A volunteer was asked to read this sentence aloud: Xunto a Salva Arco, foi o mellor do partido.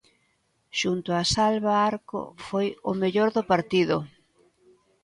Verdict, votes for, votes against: accepted, 2, 1